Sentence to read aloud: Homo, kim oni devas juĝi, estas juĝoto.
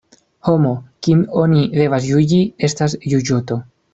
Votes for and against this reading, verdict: 0, 2, rejected